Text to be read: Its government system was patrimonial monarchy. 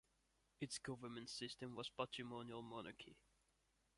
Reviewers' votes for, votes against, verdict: 0, 2, rejected